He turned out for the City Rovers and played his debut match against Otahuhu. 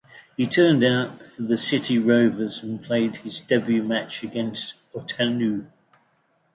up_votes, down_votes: 2, 0